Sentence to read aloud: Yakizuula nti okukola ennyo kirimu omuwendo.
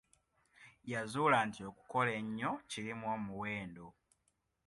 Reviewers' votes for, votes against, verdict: 1, 2, rejected